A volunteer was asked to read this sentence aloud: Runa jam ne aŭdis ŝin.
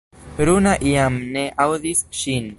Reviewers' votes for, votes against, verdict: 3, 0, accepted